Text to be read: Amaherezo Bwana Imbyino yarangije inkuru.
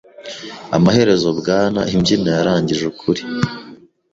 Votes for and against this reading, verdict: 0, 2, rejected